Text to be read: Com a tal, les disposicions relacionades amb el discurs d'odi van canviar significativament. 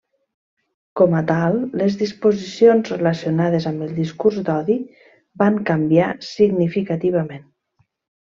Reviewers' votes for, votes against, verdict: 3, 1, accepted